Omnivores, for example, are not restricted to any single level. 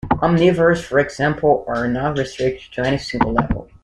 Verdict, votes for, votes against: accepted, 2, 0